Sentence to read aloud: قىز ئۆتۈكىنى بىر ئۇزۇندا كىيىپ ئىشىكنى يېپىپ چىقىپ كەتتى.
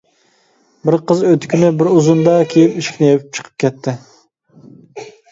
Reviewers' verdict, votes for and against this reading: rejected, 0, 2